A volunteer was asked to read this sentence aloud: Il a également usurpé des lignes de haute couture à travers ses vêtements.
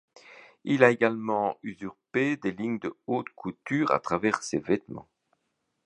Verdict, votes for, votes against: accepted, 2, 0